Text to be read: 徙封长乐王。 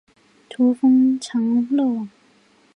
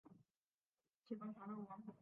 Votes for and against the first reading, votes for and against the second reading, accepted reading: 4, 2, 0, 4, first